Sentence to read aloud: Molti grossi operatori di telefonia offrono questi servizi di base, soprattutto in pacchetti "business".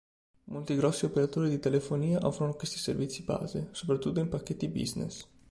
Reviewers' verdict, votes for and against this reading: rejected, 1, 2